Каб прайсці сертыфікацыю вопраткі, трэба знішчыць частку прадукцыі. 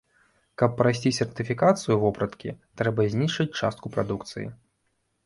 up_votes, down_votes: 2, 0